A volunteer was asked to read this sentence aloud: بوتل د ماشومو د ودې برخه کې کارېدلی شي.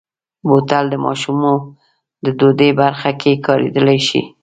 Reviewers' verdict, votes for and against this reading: accepted, 2, 1